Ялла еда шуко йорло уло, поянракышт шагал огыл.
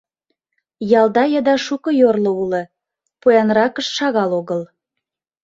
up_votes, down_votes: 1, 2